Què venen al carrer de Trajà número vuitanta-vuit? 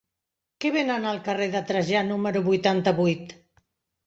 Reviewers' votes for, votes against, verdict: 0, 2, rejected